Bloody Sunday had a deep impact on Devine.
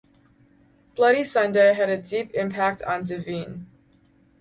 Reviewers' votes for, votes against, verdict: 2, 2, rejected